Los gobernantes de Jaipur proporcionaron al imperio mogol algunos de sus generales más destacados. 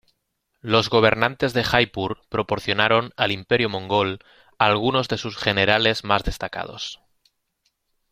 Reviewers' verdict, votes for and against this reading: rejected, 0, 2